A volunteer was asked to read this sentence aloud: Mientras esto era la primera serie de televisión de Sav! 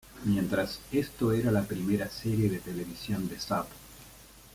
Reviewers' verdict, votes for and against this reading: rejected, 1, 2